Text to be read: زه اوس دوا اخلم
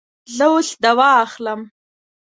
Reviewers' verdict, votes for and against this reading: accepted, 2, 0